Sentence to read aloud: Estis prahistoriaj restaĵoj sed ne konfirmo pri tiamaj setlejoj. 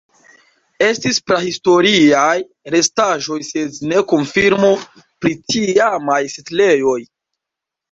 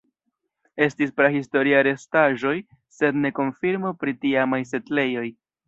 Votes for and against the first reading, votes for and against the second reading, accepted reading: 2, 0, 1, 2, first